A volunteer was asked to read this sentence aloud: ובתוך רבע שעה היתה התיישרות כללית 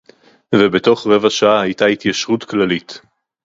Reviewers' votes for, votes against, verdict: 2, 0, accepted